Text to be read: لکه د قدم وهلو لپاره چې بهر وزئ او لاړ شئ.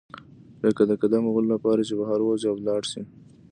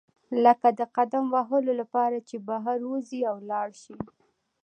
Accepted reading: second